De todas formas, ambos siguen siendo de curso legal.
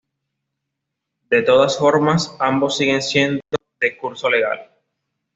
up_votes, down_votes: 2, 1